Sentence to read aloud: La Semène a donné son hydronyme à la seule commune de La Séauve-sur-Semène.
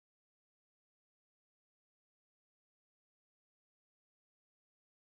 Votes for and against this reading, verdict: 0, 2, rejected